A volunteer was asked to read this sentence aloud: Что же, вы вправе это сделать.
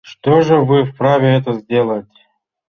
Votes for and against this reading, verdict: 1, 2, rejected